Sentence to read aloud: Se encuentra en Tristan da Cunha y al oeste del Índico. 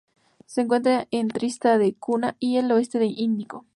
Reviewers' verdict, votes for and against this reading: accepted, 4, 0